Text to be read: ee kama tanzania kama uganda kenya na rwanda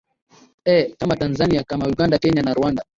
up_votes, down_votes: 9, 2